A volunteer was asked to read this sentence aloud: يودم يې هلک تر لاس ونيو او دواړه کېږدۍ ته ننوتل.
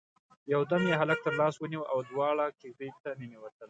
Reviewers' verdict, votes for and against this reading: accepted, 2, 0